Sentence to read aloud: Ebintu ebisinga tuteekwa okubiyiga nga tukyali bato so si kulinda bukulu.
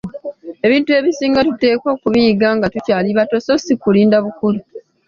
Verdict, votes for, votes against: accepted, 2, 0